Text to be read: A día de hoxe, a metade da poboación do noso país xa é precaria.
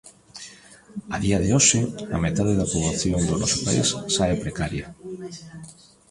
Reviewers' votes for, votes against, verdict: 1, 2, rejected